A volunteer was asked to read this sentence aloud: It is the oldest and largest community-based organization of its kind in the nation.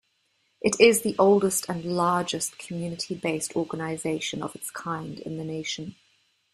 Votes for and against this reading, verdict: 2, 0, accepted